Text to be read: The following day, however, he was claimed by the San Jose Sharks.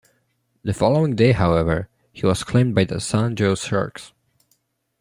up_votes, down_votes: 0, 2